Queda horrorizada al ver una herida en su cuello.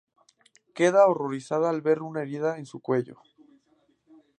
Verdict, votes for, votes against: accepted, 2, 0